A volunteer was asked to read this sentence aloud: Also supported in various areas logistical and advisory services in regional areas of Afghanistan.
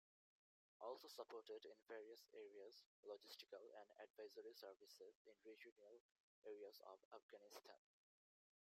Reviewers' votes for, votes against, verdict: 1, 3, rejected